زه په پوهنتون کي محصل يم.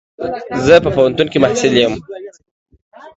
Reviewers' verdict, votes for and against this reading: accepted, 2, 0